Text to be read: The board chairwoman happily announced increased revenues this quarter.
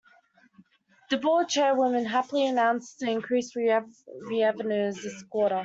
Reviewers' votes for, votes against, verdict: 0, 2, rejected